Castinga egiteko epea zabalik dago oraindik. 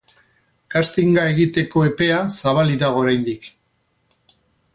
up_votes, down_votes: 0, 4